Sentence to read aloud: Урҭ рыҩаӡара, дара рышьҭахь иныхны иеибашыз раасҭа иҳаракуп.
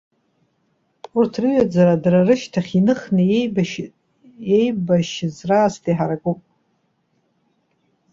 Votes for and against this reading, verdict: 1, 2, rejected